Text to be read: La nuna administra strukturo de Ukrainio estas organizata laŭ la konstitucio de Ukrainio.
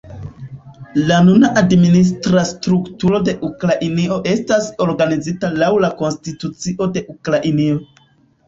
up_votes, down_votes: 0, 2